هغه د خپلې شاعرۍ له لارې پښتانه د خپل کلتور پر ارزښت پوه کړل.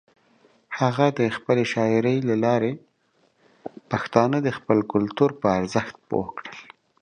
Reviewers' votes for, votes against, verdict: 4, 0, accepted